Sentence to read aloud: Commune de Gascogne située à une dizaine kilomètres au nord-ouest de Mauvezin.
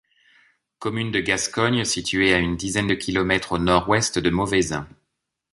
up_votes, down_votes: 1, 2